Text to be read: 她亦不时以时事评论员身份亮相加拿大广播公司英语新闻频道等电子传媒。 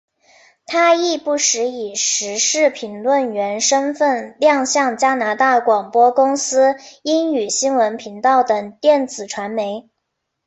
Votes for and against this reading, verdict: 2, 1, accepted